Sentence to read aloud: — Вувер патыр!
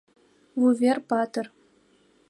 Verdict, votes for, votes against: accepted, 2, 0